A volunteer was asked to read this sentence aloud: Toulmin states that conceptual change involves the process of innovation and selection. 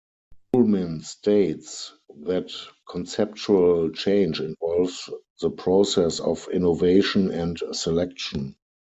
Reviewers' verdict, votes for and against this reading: accepted, 4, 2